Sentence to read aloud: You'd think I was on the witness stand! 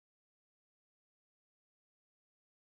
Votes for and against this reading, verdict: 0, 2, rejected